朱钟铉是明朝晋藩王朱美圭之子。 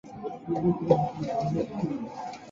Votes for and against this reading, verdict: 0, 2, rejected